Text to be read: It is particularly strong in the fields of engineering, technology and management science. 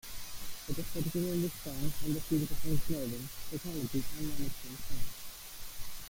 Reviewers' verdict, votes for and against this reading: rejected, 0, 2